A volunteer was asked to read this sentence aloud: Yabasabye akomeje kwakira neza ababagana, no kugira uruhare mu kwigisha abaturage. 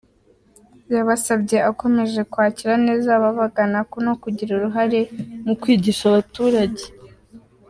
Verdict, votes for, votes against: accepted, 2, 0